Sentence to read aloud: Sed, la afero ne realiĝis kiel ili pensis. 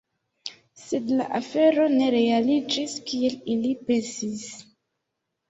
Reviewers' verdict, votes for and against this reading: accepted, 2, 0